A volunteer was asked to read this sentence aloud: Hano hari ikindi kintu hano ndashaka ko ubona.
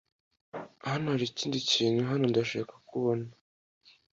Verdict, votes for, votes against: accepted, 2, 0